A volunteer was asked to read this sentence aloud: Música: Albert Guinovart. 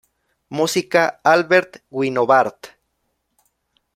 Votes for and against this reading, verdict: 2, 0, accepted